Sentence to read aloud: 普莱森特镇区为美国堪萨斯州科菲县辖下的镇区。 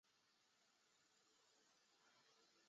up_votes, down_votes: 0, 3